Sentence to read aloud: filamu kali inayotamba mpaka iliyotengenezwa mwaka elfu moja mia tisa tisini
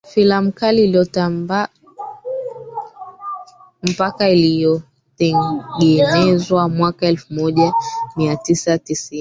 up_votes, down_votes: 0, 2